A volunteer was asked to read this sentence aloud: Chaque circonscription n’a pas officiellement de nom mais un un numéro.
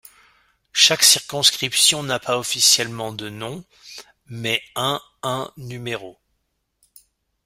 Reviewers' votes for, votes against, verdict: 1, 2, rejected